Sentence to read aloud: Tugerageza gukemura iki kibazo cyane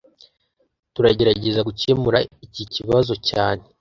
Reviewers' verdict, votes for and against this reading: rejected, 1, 2